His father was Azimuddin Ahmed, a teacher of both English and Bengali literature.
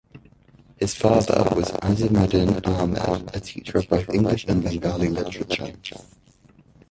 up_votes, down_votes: 0, 2